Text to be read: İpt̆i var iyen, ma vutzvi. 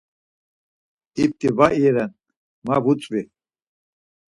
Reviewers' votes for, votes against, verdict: 4, 2, accepted